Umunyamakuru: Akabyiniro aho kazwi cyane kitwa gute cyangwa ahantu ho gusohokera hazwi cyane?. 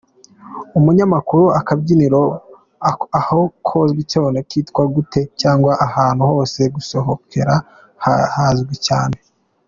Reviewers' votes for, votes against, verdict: 2, 1, accepted